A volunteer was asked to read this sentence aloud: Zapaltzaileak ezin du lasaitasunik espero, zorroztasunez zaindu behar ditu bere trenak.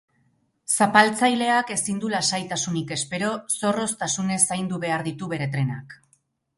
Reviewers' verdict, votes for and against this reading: accepted, 2, 0